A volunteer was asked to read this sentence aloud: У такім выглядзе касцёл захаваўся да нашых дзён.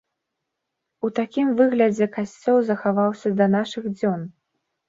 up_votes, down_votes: 2, 0